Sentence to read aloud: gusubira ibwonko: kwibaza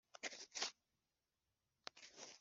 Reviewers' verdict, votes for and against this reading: rejected, 1, 3